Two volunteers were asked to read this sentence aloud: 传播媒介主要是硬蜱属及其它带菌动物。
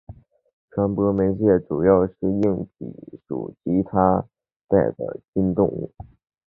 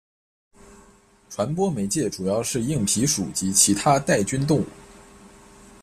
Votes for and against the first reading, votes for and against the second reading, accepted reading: 2, 2, 2, 0, second